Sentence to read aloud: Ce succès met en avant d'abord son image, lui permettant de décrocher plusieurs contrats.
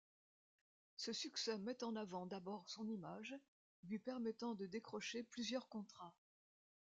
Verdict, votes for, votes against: accepted, 2, 0